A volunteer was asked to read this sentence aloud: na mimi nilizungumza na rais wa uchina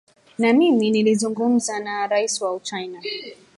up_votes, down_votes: 1, 2